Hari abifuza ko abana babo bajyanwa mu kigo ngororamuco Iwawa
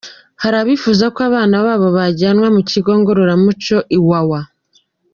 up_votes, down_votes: 2, 0